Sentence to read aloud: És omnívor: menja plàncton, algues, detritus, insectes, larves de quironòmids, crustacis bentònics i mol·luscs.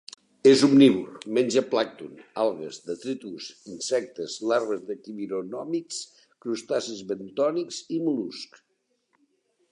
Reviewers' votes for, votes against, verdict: 2, 1, accepted